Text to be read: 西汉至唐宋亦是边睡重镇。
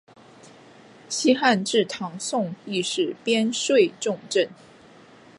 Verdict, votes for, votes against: accepted, 2, 0